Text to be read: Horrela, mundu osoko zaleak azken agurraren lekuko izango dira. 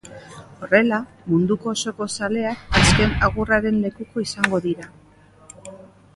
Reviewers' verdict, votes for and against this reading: rejected, 0, 2